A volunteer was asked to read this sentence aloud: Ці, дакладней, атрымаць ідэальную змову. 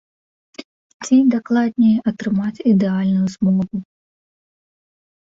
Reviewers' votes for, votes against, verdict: 1, 2, rejected